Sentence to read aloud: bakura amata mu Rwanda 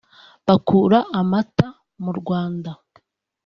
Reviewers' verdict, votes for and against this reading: accepted, 2, 0